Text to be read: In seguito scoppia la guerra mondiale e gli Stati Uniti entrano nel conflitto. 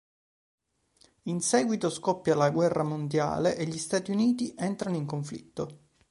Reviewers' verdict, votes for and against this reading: rejected, 1, 4